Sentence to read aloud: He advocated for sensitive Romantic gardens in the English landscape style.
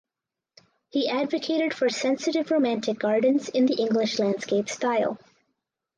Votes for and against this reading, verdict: 4, 0, accepted